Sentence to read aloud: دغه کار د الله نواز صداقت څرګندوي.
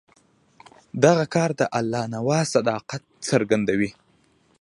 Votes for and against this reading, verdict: 1, 2, rejected